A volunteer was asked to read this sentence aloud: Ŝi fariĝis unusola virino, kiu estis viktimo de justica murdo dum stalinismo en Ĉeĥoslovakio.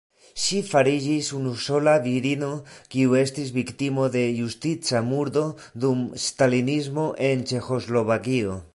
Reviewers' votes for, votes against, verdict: 2, 1, accepted